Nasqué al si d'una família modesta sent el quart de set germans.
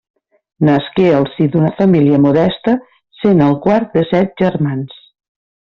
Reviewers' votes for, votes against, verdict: 2, 0, accepted